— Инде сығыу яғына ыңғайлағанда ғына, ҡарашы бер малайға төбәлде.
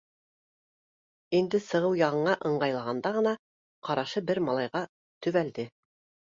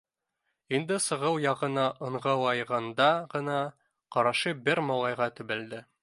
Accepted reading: first